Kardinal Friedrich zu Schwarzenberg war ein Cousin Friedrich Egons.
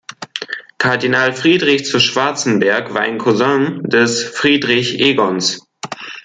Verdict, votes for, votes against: rejected, 0, 2